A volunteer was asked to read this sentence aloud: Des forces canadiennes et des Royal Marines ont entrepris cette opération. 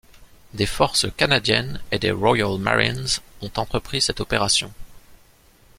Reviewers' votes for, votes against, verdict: 2, 0, accepted